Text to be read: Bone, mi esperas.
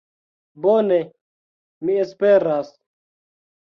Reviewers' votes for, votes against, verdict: 2, 1, accepted